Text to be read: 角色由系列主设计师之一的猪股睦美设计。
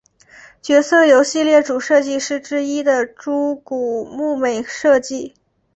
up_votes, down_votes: 3, 0